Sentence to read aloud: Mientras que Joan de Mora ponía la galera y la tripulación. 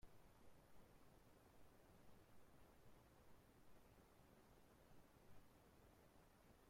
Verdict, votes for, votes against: rejected, 0, 2